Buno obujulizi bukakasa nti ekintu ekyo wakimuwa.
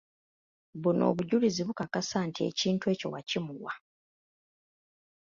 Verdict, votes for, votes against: accepted, 2, 0